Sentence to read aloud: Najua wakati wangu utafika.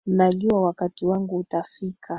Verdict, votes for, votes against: accepted, 3, 0